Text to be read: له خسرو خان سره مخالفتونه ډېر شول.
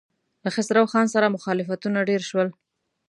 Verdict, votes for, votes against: accepted, 2, 0